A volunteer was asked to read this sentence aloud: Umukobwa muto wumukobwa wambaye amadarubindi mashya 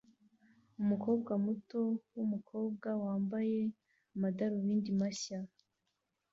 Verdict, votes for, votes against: rejected, 1, 2